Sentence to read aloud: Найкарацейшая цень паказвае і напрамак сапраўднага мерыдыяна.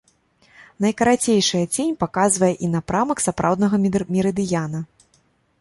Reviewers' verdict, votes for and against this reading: rejected, 1, 2